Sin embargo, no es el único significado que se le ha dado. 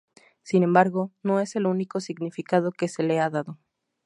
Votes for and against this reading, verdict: 6, 0, accepted